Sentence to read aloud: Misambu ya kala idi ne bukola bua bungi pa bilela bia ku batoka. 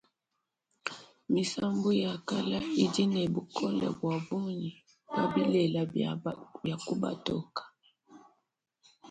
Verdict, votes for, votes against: rejected, 1, 2